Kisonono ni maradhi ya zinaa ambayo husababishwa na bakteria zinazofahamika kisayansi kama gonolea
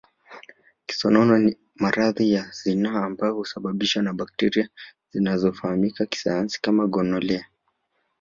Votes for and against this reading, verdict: 2, 0, accepted